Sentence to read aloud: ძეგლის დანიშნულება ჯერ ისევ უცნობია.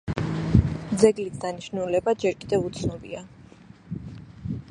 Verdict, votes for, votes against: accepted, 2, 1